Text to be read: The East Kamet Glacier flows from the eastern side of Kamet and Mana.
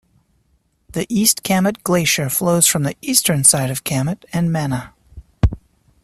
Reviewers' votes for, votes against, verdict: 3, 0, accepted